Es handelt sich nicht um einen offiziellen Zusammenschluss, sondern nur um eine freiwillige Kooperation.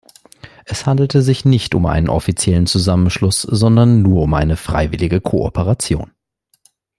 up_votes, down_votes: 1, 2